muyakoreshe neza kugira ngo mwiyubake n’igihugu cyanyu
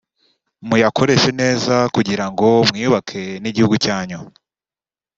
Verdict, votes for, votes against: accepted, 2, 0